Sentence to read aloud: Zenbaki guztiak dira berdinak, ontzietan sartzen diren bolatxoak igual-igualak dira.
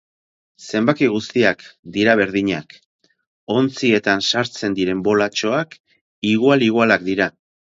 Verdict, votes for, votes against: accepted, 4, 0